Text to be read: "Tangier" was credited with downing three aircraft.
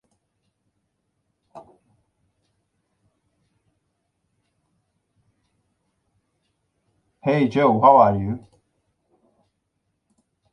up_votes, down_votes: 0, 2